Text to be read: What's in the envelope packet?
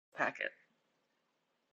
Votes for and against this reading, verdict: 0, 2, rejected